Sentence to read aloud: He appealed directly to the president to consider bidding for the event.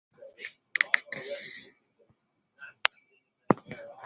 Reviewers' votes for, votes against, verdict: 0, 2, rejected